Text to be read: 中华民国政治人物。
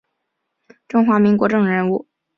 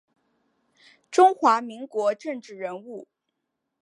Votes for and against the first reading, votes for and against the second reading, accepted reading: 1, 2, 4, 0, second